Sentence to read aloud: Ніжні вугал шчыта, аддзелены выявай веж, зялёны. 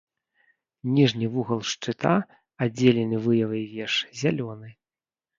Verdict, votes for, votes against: rejected, 1, 2